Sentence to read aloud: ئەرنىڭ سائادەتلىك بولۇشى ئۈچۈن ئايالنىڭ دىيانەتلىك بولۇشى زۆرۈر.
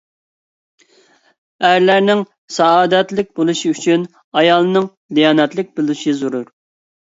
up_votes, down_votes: 0, 2